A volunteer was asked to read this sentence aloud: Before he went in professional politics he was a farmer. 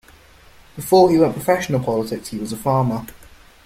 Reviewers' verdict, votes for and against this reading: accepted, 2, 1